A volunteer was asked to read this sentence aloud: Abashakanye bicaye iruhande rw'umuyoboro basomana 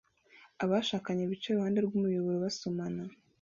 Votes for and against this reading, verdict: 2, 1, accepted